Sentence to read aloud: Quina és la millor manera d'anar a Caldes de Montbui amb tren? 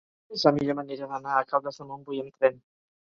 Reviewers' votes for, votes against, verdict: 0, 2, rejected